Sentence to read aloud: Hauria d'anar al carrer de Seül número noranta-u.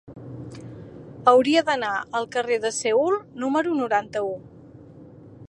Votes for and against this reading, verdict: 2, 0, accepted